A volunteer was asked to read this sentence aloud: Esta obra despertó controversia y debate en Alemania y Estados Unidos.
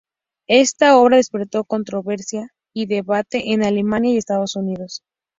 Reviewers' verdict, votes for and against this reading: rejected, 0, 2